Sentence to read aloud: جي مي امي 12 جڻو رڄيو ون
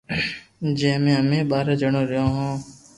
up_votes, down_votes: 0, 2